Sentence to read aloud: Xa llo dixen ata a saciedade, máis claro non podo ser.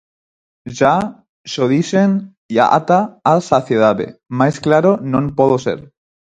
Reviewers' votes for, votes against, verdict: 0, 4, rejected